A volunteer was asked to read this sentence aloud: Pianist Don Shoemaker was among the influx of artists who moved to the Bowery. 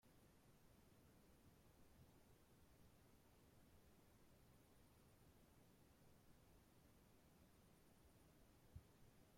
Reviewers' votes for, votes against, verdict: 0, 2, rejected